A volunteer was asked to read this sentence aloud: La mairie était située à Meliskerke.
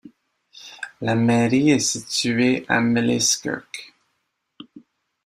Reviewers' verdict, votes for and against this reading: rejected, 1, 2